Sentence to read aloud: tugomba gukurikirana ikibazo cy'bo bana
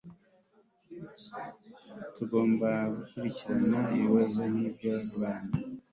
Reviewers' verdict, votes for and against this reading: accepted, 2, 1